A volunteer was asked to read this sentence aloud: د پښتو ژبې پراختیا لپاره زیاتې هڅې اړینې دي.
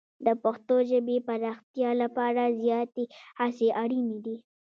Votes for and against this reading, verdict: 1, 2, rejected